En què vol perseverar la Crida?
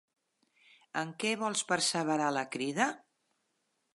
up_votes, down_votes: 0, 2